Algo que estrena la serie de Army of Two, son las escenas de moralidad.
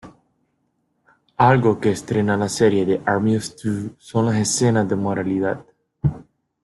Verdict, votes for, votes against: rejected, 0, 3